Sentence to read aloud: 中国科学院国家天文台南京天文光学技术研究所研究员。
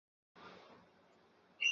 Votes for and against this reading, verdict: 0, 7, rejected